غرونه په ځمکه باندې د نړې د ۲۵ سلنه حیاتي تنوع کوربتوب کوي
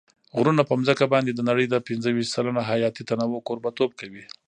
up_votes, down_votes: 0, 2